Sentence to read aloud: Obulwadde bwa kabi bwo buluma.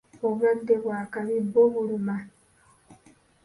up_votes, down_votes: 1, 2